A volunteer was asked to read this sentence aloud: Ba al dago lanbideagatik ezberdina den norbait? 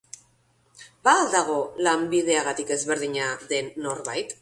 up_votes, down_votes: 2, 0